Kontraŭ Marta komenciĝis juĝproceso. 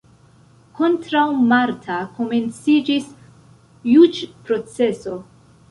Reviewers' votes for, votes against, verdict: 3, 0, accepted